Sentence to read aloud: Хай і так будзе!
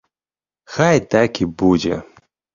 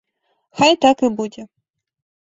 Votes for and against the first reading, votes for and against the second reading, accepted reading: 0, 2, 2, 0, second